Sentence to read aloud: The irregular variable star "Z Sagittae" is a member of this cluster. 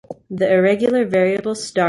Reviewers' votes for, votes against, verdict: 1, 3, rejected